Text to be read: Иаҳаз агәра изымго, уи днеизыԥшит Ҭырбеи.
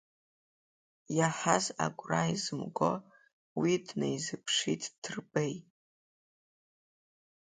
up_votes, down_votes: 2, 0